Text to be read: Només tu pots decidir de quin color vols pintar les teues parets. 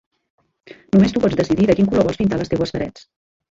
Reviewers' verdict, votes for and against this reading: rejected, 1, 2